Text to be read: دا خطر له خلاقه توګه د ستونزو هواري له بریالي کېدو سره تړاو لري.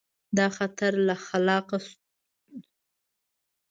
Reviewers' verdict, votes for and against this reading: rejected, 1, 2